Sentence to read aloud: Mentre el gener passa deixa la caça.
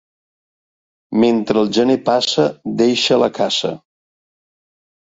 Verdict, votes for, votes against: accepted, 2, 0